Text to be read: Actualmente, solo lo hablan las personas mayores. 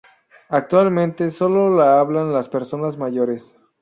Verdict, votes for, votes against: rejected, 0, 4